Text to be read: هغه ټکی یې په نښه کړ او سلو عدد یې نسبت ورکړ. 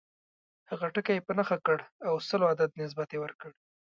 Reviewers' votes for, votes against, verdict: 2, 0, accepted